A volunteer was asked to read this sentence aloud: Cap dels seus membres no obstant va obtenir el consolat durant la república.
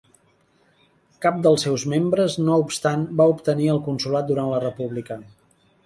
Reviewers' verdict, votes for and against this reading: accepted, 2, 0